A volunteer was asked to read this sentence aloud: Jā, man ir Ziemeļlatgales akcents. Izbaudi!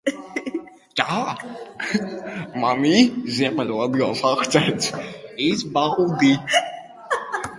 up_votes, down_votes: 0, 2